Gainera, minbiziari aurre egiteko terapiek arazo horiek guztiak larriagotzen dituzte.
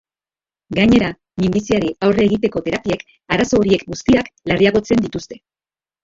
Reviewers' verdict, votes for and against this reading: accepted, 3, 1